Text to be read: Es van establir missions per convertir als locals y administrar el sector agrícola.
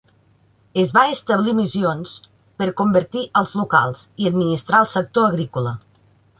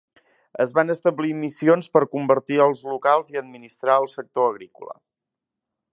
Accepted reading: second